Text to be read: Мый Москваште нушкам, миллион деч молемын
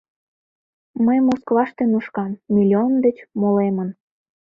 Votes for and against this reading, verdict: 2, 0, accepted